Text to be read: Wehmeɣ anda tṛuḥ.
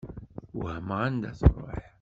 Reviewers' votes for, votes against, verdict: 2, 0, accepted